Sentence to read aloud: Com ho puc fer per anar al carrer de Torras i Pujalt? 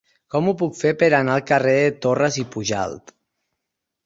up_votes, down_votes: 0, 4